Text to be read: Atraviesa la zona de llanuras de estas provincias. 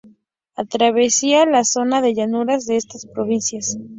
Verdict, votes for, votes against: rejected, 0, 2